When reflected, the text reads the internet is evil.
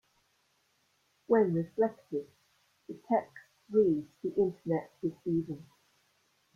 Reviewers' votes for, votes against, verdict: 1, 2, rejected